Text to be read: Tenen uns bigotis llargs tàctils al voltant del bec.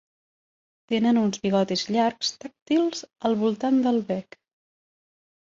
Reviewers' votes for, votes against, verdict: 1, 2, rejected